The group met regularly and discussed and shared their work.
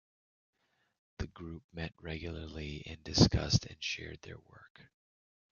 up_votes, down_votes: 1, 2